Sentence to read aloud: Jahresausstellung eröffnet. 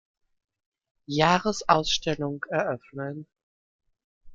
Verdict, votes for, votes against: rejected, 0, 2